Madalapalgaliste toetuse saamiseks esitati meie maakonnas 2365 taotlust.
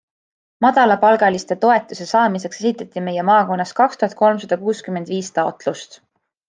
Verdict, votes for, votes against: rejected, 0, 2